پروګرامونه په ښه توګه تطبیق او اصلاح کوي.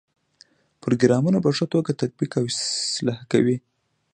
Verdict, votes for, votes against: rejected, 0, 2